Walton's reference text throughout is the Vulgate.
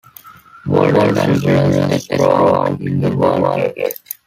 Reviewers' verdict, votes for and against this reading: rejected, 0, 2